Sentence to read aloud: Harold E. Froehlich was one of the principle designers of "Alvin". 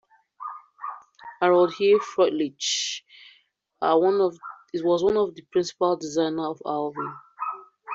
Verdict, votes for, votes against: rejected, 1, 2